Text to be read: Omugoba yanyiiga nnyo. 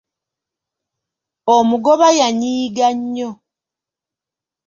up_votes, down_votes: 2, 0